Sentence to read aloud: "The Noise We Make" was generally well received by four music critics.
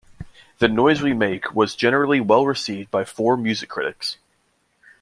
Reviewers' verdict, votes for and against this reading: accepted, 2, 0